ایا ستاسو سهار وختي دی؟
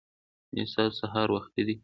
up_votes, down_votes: 2, 0